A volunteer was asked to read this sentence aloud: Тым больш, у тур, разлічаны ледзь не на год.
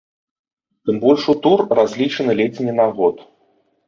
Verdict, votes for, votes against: accepted, 2, 0